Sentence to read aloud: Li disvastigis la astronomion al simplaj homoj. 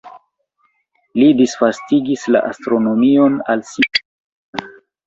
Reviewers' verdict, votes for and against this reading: rejected, 1, 2